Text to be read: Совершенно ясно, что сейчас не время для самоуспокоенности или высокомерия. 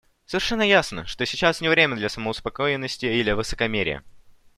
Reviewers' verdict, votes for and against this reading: accepted, 2, 0